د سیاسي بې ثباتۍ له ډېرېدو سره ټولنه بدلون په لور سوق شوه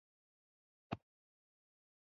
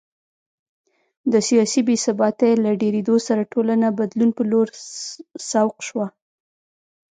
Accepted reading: second